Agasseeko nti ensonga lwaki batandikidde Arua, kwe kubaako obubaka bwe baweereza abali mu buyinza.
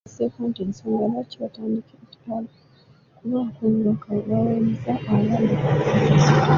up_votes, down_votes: 1, 2